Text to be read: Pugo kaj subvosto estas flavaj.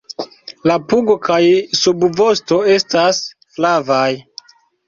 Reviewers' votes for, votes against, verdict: 1, 2, rejected